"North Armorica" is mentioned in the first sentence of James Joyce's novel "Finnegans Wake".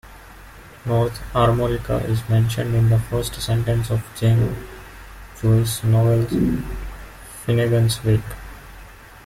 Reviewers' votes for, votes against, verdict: 1, 2, rejected